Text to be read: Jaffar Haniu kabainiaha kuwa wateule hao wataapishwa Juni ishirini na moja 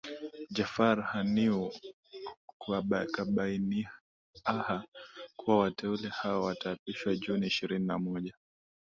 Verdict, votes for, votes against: accepted, 4, 1